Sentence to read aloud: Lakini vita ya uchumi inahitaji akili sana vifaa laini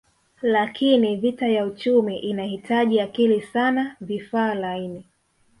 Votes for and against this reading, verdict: 0, 2, rejected